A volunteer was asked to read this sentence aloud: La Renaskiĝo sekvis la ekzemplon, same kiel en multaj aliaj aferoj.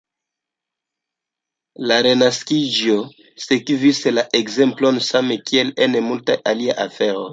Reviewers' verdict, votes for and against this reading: rejected, 1, 2